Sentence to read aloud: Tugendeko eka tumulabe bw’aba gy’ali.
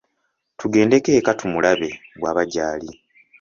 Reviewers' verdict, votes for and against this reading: accepted, 2, 0